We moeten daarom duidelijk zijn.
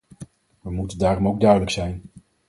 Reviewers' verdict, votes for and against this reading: rejected, 2, 4